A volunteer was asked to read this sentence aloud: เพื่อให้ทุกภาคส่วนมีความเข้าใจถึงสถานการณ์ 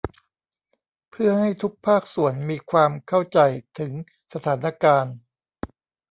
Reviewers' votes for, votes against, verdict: 1, 2, rejected